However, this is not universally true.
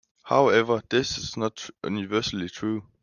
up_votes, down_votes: 1, 2